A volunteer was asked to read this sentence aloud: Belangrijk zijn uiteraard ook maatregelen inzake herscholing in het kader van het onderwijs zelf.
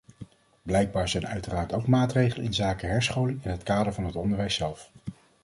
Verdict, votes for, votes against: rejected, 1, 3